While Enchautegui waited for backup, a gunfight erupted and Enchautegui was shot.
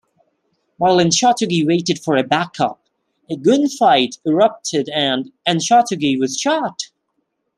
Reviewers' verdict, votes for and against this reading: rejected, 0, 2